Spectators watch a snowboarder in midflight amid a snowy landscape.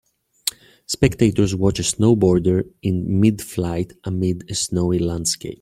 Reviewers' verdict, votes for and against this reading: accepted, 2, 0